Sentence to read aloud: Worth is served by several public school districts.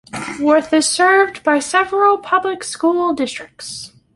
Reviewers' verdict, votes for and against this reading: accepted, 2, 0